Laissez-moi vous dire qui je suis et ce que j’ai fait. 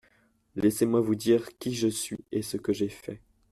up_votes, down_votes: 2, 0